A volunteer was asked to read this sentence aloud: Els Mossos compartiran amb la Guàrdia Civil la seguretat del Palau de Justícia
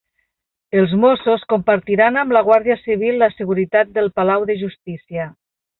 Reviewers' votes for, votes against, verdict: 1, 2, rejected